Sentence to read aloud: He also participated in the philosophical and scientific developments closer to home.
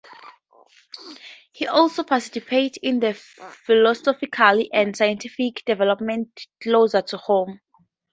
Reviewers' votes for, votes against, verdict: 0, 4, rejected